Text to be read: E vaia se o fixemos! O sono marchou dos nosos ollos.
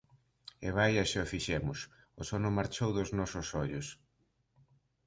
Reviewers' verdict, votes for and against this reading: accepted, 2, 0